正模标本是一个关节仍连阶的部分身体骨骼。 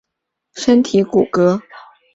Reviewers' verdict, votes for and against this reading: rejected, 1, 3